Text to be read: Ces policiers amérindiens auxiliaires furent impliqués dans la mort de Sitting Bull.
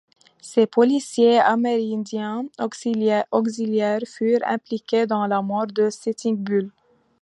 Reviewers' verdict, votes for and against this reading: rejected, 1, 2